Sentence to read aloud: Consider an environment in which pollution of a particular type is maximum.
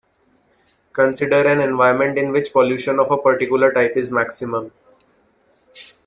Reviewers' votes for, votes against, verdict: 2, 0, accepted